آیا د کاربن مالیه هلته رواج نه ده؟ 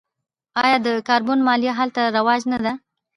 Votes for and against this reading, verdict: 0, 2, rejected